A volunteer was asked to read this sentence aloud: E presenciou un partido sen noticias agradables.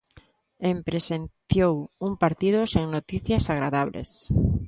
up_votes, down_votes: 1, 2